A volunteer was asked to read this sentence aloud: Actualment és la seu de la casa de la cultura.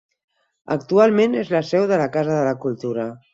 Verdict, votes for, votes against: accepted, 4, 0